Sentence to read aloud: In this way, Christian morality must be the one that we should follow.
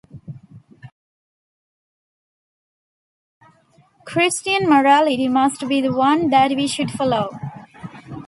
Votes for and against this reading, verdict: 0, 2, rejected